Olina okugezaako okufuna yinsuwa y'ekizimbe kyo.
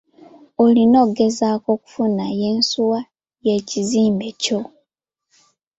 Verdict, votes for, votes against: rejected, 1, 2